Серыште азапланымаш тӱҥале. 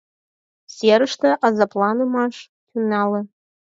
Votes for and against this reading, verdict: 2, 4, rejected